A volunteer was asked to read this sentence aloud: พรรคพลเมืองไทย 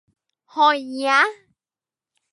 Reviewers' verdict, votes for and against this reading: rejected, 0, 2